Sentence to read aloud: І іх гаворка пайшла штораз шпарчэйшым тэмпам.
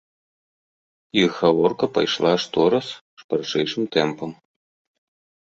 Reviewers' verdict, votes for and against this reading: rejected, 1, 2